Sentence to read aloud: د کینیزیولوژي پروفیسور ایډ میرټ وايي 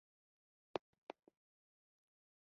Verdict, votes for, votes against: rejected, 1, 2